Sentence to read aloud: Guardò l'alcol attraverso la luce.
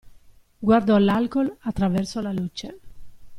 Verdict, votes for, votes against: accepted, 2, 0